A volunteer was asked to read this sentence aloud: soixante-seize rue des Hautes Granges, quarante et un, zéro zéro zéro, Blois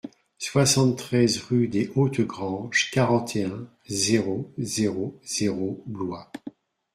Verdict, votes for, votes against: rejected, 0, 2